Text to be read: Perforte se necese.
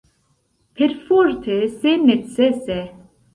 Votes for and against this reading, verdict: 2, 0, accepted